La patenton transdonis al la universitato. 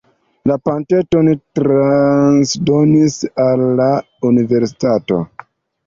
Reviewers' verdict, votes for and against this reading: rejected, 0, 2